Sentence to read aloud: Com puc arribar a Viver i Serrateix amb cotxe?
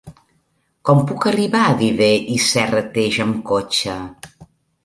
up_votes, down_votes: 2, 0